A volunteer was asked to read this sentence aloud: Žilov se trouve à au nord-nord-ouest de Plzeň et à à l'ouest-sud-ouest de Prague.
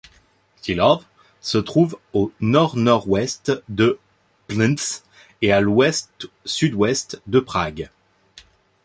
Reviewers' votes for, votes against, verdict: 0, 2, rejected